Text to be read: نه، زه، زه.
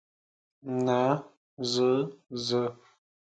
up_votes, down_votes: 2, 0